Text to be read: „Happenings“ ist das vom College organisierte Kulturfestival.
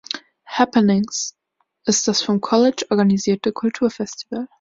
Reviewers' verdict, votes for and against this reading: accepted, 4, 0